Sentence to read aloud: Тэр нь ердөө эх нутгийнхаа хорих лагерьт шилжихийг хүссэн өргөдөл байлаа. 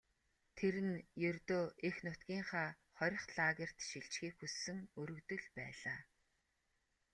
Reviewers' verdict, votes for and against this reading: accepted, 2, 0